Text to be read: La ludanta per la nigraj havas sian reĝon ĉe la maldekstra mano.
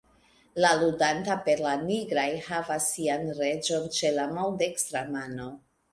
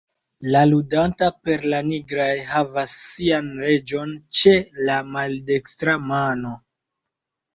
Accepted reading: first